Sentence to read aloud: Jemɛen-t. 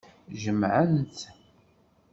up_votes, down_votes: 2, 1